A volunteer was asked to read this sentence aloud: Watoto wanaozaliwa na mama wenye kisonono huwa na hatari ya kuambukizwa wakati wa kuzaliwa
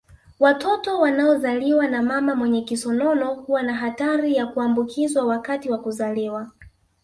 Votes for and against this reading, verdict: 2, 0, accepted